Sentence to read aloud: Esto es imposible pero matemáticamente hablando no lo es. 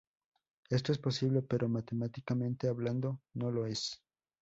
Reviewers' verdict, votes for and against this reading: rejected, 0, 2